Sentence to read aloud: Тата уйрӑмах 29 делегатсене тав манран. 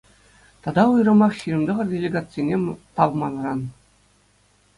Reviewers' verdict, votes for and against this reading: rejected, 0, 2